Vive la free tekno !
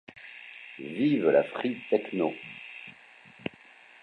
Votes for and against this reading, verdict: 2, 1, accepted